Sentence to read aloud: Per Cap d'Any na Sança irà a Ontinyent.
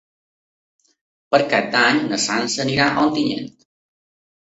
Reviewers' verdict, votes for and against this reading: accepted, 2, 0